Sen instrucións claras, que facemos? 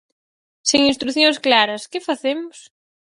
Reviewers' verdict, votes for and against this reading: rejected, 0, 4